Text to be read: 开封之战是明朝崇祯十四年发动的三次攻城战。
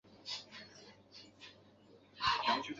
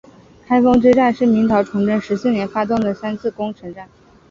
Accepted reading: second